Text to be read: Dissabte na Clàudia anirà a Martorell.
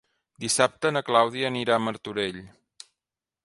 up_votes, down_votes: 3, 0